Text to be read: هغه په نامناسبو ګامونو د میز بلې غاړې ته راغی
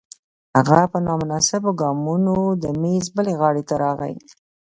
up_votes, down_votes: 1, 2